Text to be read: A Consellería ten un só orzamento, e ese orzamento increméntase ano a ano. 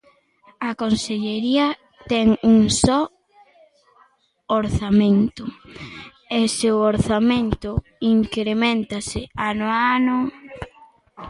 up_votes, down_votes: 0, 2